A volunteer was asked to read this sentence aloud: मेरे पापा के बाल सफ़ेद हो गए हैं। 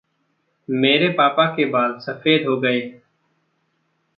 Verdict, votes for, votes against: rejected, 1, 2